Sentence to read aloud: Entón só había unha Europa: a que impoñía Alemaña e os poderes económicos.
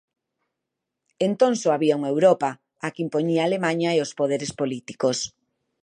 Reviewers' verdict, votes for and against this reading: rejected, 0, 2